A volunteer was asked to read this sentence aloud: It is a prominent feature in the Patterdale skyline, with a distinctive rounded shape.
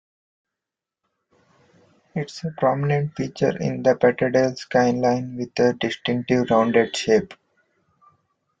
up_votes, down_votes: 2, 3